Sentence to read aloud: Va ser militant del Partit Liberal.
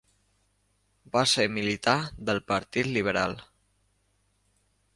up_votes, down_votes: 1, 2